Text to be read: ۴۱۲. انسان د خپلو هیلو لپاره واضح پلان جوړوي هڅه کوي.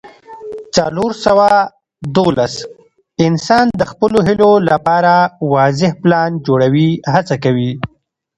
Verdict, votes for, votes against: rejected, 0, 2